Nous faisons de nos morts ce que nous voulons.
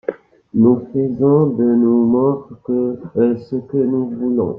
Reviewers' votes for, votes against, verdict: 0, 3, rejected